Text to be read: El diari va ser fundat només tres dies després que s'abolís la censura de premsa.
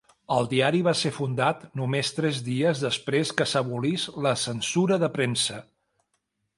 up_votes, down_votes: 2, 0